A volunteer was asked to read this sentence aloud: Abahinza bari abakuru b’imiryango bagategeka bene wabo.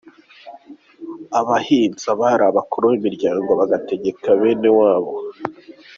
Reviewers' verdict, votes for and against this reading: accepted, 2, 0